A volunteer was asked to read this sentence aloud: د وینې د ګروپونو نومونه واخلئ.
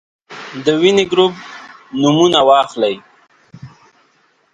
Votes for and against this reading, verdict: 1, 2, rejected